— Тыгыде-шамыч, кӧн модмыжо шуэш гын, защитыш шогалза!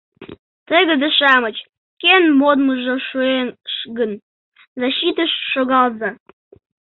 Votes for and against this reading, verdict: 1, 2, rejected